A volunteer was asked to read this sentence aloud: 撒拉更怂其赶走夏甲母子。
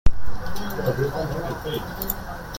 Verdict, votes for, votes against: rejected, 0, 2